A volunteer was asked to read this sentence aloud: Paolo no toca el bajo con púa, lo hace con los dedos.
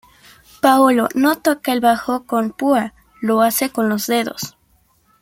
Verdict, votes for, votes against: accepted, 2, 0